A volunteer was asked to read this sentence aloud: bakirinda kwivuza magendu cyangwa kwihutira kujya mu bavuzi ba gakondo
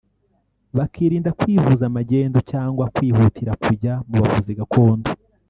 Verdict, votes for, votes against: rejected, 1, 2